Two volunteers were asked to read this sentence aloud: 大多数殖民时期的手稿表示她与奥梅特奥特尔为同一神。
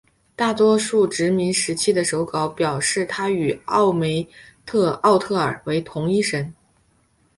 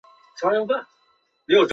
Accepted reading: first